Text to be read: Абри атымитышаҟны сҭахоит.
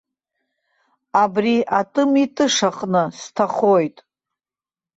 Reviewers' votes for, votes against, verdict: 2, 0, accepted